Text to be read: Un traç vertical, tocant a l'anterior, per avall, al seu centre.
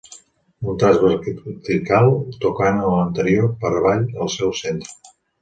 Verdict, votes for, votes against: rejected, 1, 2